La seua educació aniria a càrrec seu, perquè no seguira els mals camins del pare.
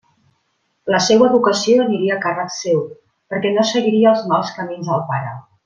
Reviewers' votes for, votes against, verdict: 0, 2, rejected